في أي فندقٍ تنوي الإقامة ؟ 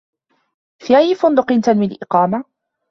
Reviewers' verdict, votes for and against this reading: accepted, 2, 0